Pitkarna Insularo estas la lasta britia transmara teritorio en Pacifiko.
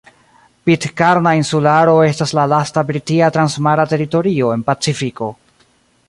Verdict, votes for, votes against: rejected, 1, 2